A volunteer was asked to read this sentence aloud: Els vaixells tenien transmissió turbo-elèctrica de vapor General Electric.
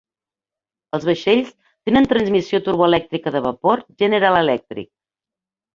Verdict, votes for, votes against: rejected, 1, 2